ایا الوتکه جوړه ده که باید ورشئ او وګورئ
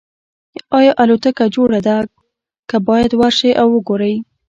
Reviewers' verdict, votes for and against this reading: accepted, 2, 0